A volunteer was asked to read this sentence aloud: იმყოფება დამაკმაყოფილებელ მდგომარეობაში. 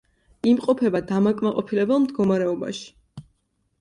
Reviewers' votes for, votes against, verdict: 2, 0, accepted